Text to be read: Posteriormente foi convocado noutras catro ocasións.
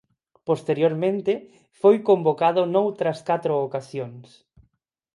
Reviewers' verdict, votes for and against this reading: accepted, 4, 0